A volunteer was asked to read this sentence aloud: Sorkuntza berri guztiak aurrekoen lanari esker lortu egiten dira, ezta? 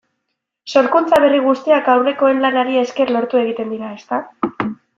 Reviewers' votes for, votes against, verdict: 2, 0, accepted